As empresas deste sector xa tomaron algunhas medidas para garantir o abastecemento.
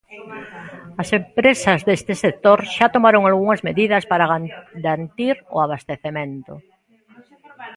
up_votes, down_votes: 0, 2